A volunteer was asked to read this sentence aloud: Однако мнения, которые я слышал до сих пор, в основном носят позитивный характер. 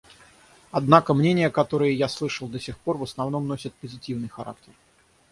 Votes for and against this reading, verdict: 3, 3, rejected